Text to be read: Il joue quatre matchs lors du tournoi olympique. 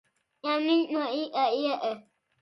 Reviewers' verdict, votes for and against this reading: rejected, 0, 2